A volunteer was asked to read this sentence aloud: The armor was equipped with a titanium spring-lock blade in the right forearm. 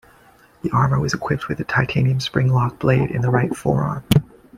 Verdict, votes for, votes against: rejected, 1, 2